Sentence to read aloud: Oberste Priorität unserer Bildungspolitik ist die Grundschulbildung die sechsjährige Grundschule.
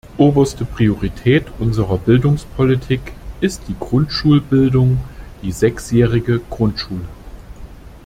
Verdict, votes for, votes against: accepted, 2, 0